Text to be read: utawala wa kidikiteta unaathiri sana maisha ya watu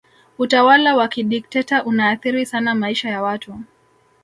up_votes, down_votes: 1, 2